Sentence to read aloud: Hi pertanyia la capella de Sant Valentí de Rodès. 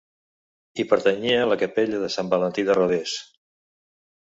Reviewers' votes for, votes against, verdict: 2, 0, accepted